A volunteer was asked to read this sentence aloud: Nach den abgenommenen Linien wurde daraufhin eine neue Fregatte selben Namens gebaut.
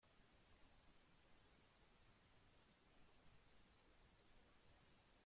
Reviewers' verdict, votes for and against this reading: rejected, 0, 2